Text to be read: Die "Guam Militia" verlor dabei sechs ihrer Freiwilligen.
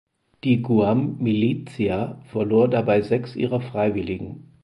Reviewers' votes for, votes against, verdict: 4, 0, accepted